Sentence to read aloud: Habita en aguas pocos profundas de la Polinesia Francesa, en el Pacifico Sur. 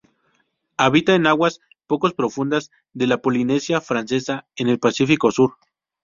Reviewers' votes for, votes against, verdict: 0, 2, rejected